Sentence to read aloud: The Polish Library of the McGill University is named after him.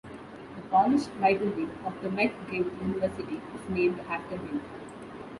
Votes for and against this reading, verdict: 2, 0, accepted